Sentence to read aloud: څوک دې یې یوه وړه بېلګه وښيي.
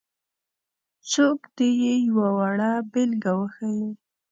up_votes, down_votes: 2, 0